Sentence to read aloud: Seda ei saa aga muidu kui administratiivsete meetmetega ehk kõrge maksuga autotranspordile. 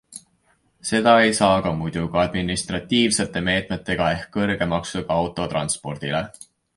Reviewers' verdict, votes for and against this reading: accepted, 2, 0